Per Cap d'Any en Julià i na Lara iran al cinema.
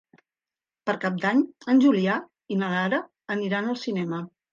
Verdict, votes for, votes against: rejected, 1, 2